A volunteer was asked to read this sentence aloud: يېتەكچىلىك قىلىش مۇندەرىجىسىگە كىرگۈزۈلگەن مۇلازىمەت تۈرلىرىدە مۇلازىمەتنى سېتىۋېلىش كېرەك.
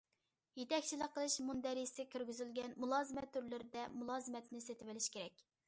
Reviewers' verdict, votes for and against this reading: accepted, 2, 0